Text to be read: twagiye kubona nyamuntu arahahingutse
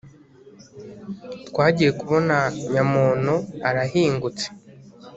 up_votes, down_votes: 1, 2